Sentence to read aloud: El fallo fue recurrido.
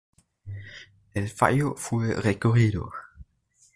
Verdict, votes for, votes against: accepted, 2, 0